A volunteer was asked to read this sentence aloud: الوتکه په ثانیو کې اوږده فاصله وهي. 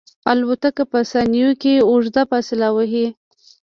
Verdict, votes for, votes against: rejected, 1, 2